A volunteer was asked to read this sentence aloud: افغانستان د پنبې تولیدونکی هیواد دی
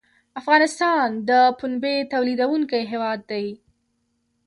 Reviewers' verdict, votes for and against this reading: accepted, 2, 1